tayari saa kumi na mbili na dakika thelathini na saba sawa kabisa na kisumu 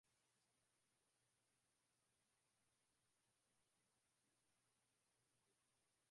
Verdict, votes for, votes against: rejected, 0, 2